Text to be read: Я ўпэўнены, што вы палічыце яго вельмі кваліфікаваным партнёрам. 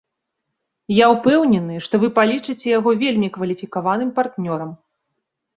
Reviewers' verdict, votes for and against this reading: accepted, 2, 0